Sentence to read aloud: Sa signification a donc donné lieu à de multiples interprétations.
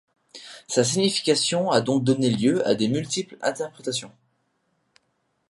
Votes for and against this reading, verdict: 1, 2, rejected